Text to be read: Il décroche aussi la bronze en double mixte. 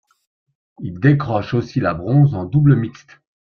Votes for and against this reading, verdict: 2, 0, accepted